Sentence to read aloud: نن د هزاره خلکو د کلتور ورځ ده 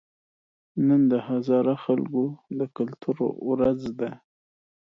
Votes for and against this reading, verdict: 2, 0, accepted